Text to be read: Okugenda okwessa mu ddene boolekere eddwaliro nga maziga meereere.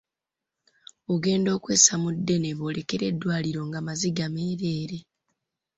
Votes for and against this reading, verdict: 2, 1, accepted